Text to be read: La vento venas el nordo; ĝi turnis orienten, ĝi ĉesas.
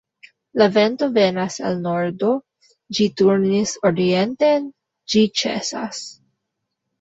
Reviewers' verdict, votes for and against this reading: accepted, 2, 0